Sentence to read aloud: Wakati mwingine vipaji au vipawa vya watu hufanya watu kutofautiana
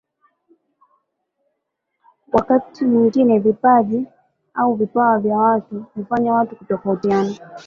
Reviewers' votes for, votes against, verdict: 3, 1, accepted